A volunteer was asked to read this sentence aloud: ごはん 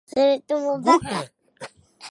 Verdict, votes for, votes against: rejected, 0, 2